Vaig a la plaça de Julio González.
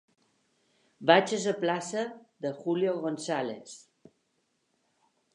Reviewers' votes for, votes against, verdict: 1, 2, rejected